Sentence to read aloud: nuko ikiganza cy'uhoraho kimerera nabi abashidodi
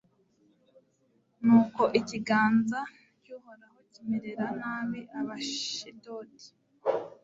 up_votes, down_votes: 2, 0